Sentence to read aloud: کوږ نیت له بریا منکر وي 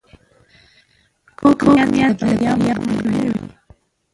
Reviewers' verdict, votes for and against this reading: rejected, 0, 2